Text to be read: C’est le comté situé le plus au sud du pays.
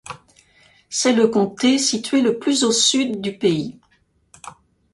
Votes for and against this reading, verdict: 3, 0, accepted